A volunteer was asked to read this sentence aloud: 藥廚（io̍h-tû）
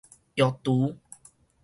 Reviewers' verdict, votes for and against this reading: rejected, 2, 2